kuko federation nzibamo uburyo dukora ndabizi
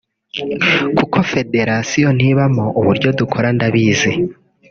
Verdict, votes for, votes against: rejected, 1, 2